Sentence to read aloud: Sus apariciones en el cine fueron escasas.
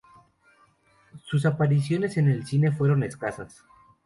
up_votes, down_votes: 2, 0